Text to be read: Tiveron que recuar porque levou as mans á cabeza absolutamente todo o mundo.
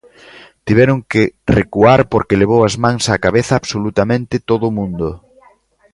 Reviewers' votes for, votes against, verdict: 2, 0, accepted